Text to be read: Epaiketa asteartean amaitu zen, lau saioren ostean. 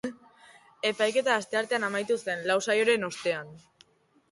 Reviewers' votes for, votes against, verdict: 2, 0, accepted